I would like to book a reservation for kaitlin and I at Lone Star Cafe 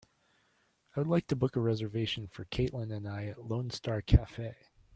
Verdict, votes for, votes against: accepted, 2, 0